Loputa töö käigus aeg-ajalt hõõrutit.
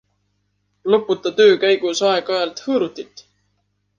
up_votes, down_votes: 2, 0